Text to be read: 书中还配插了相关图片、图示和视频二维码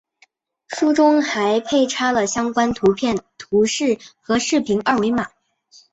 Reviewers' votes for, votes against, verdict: 5, 0, accepted